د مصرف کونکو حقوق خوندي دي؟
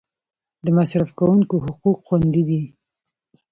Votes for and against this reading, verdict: 3, 0, accepted